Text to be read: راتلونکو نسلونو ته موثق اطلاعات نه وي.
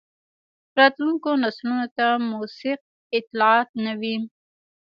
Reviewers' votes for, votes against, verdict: 2, 1, accepted